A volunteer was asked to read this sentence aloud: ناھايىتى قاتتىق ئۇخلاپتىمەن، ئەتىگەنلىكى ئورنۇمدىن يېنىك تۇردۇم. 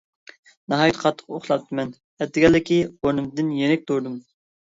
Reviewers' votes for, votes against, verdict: 2, 0, accepted